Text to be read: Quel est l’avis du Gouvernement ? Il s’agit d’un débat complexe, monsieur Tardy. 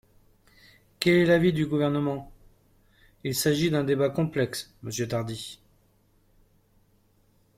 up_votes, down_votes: 3, 0